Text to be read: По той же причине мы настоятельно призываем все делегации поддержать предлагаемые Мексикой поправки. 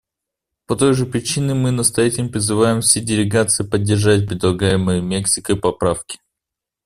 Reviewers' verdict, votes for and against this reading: rejected, 1, 2